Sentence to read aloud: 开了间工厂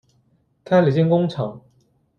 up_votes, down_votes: 2, 0